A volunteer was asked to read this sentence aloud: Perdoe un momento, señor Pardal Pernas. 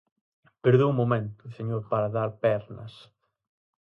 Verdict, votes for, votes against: rejected, 2, 2